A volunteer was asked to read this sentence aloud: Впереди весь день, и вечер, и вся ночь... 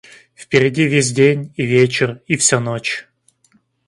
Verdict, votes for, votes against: accepted, 2, 0